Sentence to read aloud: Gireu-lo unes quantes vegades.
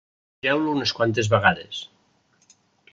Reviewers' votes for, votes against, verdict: 0, 2, rejected